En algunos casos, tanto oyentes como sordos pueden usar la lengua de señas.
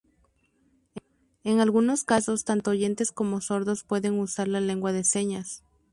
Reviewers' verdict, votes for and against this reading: accepted, 2, 0